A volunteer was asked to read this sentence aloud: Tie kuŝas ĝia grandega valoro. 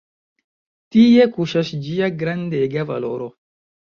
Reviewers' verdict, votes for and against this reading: rejected, 1, 2